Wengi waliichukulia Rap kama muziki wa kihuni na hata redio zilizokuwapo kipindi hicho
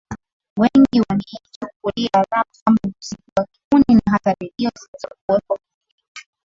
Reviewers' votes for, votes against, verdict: 2, 2, rejected